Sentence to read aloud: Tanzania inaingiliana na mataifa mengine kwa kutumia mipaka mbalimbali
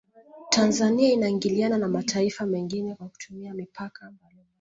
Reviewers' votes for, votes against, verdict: 0, 2, rejected